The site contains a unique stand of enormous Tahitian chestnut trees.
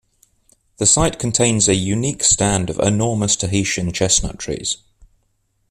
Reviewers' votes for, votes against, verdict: 2, 0, accepted